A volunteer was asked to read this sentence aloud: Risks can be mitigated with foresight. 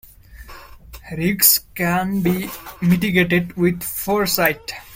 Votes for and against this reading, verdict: 0, 2, rejected